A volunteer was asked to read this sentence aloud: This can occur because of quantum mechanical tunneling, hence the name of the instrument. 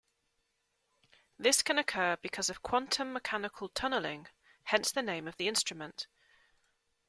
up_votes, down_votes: 2, 0